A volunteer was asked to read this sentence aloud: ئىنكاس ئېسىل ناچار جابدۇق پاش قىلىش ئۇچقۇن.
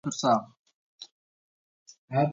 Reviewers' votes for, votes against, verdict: 0, 2, rejected